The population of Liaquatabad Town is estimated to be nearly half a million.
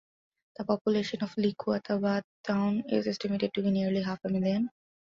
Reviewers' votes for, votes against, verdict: 3, 2, accepted